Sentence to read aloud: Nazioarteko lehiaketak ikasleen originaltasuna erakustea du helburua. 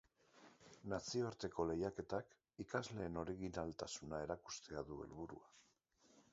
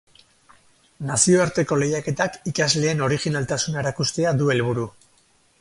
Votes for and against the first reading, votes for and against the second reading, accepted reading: 2, 0, 2, 2, first